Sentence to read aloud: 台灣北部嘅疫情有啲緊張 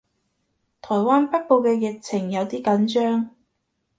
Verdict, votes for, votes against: accepted, 2, 0